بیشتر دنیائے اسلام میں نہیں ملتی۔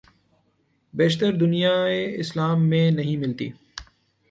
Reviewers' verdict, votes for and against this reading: accepted, 2, 0